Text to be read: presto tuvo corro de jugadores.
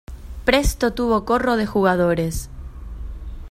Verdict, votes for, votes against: accepted, 2, 0